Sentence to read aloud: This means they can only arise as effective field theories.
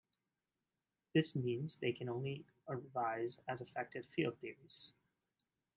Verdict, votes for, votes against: accepted, 2, 1